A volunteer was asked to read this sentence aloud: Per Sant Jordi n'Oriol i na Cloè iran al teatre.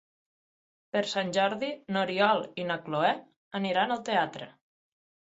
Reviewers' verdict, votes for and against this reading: rejected, 0, 6